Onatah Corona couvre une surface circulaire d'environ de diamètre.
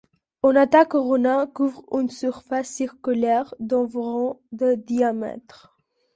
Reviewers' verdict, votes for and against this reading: accepted, 2, 1